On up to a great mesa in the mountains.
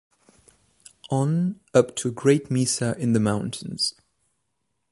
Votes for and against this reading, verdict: 2, 0, accepted